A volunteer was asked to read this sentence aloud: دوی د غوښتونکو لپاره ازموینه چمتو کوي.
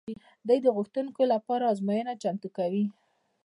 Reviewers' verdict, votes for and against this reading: rejected, 1, 2